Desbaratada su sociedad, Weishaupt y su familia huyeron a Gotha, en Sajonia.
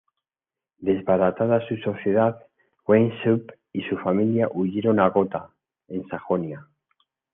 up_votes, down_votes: 2, 1